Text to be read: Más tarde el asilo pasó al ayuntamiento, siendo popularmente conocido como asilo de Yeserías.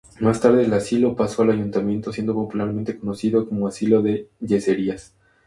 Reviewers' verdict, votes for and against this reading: accepted, 2, 0